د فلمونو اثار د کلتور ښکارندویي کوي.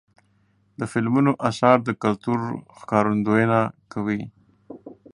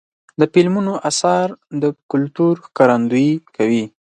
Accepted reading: second